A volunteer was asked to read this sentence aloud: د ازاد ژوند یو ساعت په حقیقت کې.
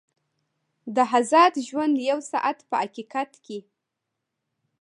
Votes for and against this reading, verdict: 1, 2, rejected